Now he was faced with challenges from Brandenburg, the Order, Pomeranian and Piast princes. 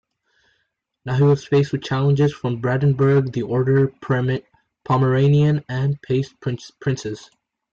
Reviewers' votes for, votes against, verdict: 2, 3, rejected